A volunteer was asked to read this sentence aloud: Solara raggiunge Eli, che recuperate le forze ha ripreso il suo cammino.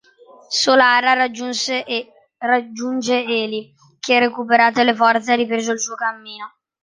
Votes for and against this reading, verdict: 0, 2, rejected